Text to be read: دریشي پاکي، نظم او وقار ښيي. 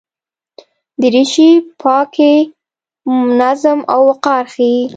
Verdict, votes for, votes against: rejected, 1, 2